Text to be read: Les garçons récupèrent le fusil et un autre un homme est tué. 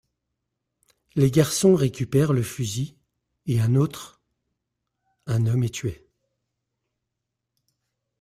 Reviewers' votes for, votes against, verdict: 0, 2, rejected